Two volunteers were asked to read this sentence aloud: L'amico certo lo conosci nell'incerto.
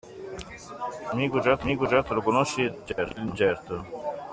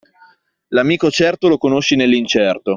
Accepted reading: second